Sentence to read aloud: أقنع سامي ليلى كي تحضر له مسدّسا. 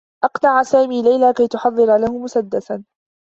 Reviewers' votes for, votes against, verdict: 1, 2, rejected